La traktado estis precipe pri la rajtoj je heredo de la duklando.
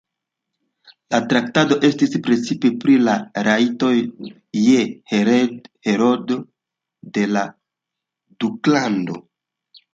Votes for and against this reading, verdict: 1, 2, rejected